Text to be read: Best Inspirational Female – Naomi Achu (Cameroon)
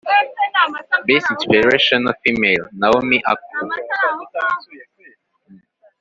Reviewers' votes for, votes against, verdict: 2, 3, rejected